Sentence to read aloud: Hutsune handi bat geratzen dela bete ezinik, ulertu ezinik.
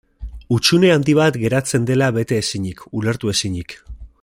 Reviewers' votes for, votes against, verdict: 2, 1, accepted